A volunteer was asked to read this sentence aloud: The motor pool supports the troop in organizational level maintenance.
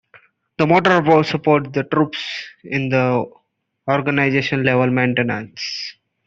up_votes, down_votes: 1, 2